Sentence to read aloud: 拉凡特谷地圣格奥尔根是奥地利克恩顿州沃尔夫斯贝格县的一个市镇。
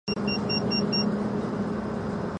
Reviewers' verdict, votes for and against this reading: rejected, 0, 3